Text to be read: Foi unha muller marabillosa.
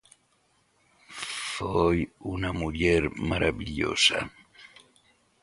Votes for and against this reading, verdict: 2, 3, rejected